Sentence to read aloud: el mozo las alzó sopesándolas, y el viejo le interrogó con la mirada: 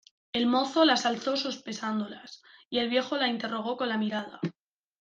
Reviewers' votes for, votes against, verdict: 1, 2, rejected